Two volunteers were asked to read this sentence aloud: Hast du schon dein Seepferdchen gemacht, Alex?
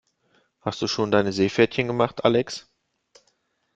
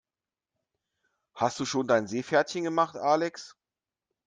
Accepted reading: second